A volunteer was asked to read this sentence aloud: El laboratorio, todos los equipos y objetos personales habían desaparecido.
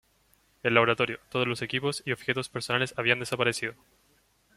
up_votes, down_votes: 2, 1